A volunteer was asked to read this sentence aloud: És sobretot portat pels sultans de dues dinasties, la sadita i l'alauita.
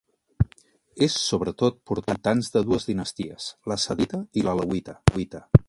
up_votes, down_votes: 1, 2